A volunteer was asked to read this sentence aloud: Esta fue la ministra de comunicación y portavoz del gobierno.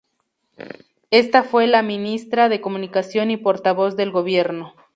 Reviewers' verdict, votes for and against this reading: accepted, 2, 0